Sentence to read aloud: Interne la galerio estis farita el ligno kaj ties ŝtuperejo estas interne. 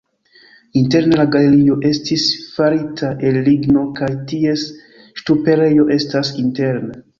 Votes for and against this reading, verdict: 2, 0, accepted